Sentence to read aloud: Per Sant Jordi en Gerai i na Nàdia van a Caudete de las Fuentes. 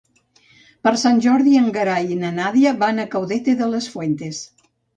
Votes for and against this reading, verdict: 2, 0, accepted